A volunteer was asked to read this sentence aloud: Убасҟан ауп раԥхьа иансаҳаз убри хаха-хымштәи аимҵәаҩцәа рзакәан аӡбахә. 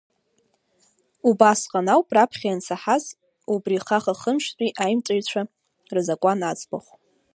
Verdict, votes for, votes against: accepted, 2, 0